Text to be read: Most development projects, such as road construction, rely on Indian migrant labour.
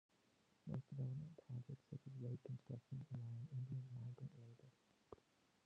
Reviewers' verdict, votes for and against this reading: rejected, 0, 2